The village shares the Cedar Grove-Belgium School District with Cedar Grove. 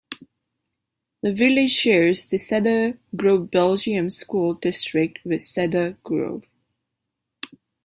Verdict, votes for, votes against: rejected, 0, 2